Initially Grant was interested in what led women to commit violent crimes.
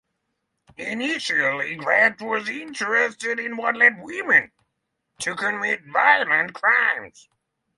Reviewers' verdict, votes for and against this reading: rejected, 3, 3